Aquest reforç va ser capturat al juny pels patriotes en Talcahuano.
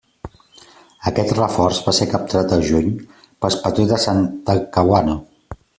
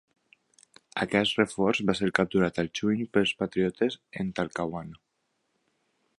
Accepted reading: second